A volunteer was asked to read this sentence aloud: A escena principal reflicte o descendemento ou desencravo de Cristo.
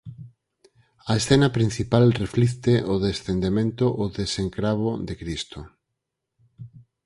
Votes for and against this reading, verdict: 2, 4, rejected